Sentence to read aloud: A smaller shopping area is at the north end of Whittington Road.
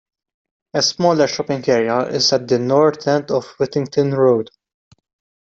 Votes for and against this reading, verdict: 2, 0, accepted